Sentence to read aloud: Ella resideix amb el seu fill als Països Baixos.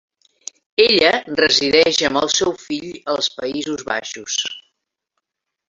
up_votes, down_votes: 3, 1